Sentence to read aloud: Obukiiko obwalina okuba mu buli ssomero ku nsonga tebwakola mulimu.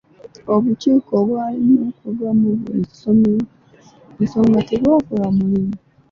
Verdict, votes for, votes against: rejected, 1, 2